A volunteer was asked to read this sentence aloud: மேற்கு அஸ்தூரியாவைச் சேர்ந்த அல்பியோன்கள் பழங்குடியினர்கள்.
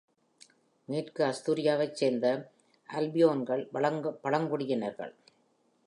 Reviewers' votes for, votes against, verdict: 2, 1, accepted